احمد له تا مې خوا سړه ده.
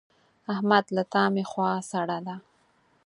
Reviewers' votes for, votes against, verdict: 4, 0, accepted